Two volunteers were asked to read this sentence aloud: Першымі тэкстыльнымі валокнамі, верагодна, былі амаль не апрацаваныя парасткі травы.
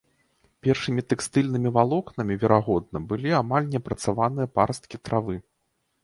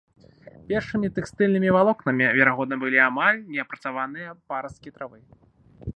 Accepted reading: first